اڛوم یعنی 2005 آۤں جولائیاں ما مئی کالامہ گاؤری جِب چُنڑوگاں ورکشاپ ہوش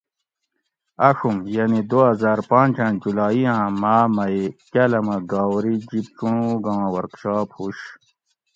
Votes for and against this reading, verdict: 0, 2, rejected